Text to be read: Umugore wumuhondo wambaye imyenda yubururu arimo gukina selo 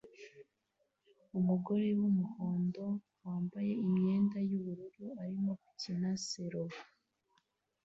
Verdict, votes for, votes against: accepted, 2, 0